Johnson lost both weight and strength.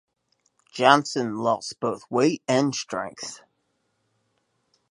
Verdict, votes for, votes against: accepted, 2, 0